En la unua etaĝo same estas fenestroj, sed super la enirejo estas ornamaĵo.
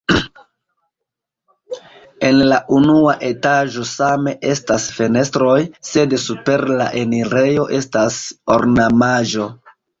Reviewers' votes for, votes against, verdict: 2, 0, accepted